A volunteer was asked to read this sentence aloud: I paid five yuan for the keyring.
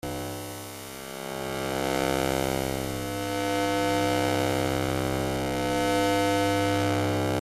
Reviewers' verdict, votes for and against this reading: rejected, 0, 2